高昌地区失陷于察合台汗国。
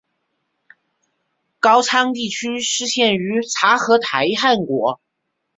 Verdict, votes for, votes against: accepted, 3, 0